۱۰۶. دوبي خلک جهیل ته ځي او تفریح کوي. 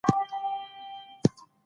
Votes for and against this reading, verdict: 0, 2, rejected